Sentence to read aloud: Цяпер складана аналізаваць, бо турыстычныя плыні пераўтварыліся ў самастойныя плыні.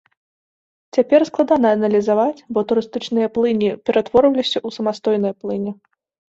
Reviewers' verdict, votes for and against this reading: rejected, 1, 2